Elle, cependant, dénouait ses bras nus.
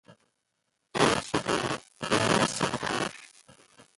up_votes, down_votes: 0, 2